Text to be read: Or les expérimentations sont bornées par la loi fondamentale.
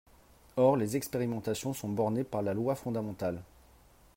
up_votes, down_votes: 3, 0